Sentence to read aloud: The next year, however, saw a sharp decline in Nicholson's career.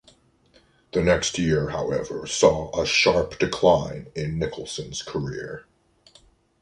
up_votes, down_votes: 2, 0